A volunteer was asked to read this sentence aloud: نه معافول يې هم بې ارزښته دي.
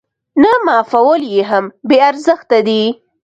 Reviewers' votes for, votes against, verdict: 2, 0, accepted